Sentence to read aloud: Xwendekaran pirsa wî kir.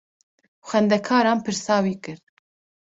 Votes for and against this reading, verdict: 2, 0, accepted